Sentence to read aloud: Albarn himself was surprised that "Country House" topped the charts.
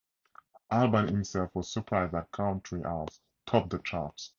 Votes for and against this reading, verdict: 0, 2, rejected